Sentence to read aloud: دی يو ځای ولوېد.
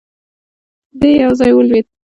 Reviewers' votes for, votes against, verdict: 2, 0, accepted